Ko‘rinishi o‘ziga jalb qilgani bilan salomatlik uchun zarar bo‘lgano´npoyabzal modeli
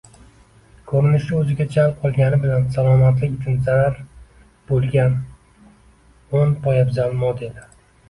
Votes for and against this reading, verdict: 2, 1, accepted